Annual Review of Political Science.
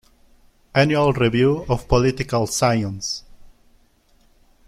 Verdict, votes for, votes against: rejected, 2, 3